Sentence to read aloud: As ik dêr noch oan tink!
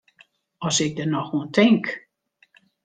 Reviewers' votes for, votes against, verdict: 0, 2, rejected